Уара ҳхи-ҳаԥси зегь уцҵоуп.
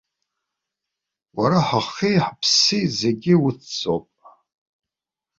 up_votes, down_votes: 0, 2